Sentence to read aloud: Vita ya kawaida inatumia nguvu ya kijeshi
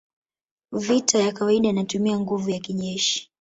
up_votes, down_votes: 1, 2